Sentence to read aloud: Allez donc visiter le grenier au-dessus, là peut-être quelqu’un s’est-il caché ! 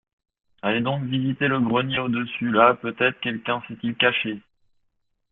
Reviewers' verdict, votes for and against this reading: accepted, 2, 0